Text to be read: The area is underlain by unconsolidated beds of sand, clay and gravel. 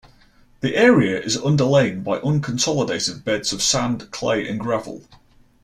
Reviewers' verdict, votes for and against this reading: accepted, 2, 0